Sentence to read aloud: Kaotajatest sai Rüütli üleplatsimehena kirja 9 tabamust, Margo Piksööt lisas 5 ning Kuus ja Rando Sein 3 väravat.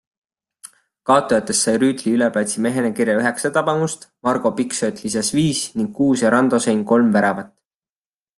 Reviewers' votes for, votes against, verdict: 0, 2, rejected